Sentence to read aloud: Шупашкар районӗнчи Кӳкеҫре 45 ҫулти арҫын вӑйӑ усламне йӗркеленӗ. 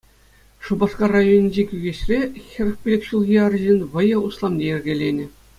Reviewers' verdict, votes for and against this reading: rejected, 0, 2